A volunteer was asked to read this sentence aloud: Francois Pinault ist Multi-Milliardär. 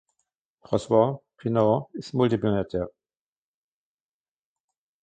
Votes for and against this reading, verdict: 1, 2, rejected